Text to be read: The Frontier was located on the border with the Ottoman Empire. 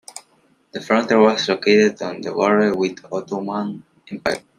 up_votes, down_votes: 0, 3